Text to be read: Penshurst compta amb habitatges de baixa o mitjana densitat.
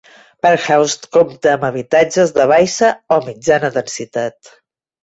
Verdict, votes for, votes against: rejected, 0, 2